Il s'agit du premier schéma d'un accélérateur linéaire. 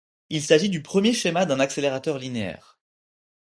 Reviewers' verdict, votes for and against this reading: accepted, 4, 0